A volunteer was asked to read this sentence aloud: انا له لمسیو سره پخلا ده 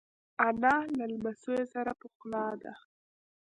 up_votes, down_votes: 1, 2